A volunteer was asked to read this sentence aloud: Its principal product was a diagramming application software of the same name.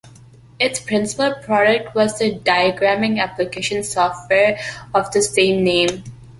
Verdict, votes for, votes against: accepted, 2, 0